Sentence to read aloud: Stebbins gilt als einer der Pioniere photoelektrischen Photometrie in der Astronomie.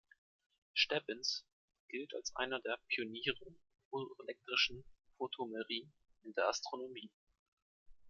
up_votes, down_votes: 0, 2